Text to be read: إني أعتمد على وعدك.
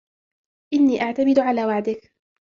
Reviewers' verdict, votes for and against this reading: accepted, 2, 1